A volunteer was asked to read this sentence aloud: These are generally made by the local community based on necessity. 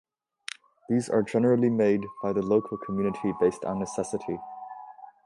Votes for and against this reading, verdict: 2, 1, accepted